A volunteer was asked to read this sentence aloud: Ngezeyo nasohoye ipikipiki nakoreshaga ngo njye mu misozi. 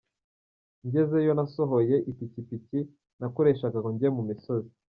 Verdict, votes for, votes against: rejected, 1, 2